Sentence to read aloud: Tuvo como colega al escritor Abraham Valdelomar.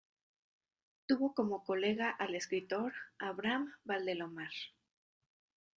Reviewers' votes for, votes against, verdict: 2, 0, accepted